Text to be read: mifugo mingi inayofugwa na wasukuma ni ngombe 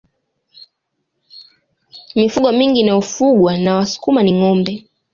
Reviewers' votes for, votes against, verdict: 2, 0, accepted